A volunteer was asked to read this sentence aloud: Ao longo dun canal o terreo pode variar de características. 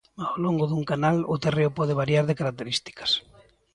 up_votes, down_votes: 2, 0